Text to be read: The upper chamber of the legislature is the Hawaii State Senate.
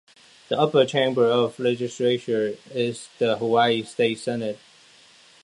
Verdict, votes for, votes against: accepted, 2, 1